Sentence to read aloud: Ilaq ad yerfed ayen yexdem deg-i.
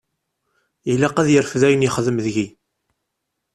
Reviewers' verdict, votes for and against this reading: accepted, 2, 0